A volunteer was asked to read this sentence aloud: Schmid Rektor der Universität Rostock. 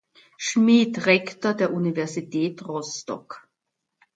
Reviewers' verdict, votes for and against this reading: accepted, 2, 0